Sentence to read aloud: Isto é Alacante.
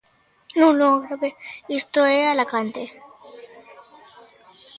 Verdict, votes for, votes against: rejected, 0, 2